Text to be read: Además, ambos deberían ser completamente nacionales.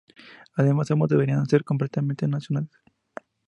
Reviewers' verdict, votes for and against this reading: accepted, 2, 0